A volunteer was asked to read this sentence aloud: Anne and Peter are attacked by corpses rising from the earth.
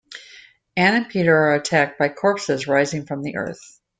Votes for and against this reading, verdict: 2, 0, accepted